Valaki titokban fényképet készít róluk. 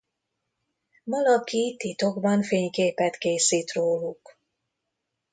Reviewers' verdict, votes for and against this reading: accepted, 2, 0